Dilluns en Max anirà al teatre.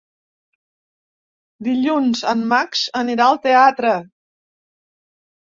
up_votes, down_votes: 3, 0